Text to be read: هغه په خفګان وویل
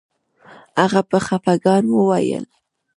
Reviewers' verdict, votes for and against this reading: accepted, 2, 0